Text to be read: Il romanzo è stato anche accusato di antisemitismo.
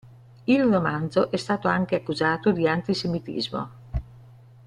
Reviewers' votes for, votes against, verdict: 3, 0, accepted